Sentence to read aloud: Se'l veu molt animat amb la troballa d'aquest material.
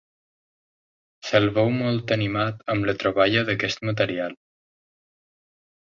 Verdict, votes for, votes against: accepted, 3, 0